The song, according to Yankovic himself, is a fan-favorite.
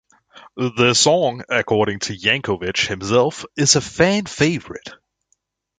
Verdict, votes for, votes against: accepted, 2, 1